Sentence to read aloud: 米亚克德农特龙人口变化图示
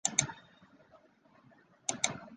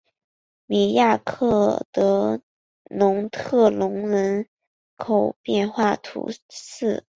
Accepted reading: second